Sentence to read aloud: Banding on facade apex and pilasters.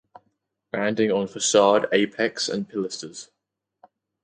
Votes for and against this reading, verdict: 4, 0, accepted